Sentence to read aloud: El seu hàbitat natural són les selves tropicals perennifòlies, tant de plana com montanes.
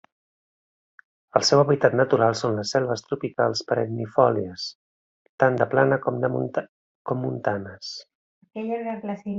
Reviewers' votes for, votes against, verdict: 0, 2, rejected